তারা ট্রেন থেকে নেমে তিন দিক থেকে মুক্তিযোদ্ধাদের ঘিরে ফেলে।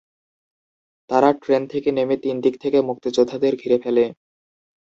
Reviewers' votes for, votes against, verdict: 7, 2, accepted